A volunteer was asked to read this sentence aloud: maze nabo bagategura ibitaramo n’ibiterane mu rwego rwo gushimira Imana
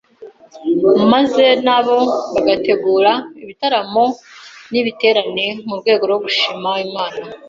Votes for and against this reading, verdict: 2, 0, accepted